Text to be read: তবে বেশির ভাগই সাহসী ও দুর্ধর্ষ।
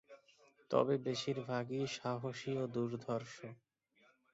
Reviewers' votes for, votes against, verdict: 2, 1, accepted